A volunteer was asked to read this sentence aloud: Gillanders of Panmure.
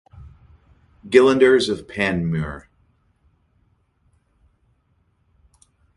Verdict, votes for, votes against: accepted, 4, 2